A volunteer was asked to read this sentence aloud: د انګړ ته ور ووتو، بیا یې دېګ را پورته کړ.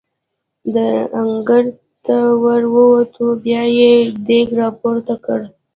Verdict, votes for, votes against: rejected, 1, 2